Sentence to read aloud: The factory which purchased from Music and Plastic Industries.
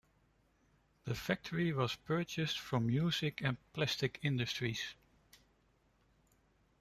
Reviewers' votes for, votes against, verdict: 0, 2, rejected